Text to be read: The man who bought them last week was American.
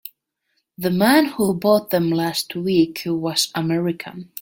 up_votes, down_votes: 2, 0